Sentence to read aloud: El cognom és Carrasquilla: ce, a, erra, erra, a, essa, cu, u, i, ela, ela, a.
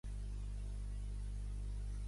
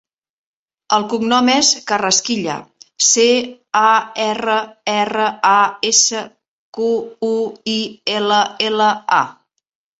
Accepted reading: second